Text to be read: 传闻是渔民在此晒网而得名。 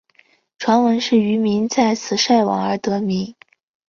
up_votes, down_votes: 2, 3